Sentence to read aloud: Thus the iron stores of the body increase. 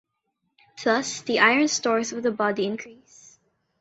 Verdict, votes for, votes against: rejected, 1, 2